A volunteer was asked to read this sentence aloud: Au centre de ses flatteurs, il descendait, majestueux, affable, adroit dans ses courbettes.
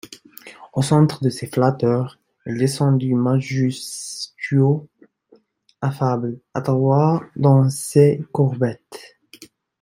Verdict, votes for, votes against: rejected, 1, 2